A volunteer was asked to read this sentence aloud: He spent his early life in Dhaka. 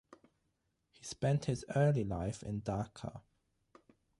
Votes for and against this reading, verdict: 6, 0, accepted